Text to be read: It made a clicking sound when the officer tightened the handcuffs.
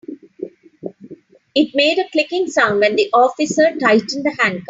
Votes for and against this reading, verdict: 0, 3, rejected